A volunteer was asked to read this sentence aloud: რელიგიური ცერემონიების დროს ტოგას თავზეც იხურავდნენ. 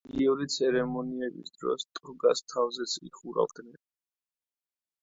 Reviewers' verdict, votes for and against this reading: rejected, 1, 2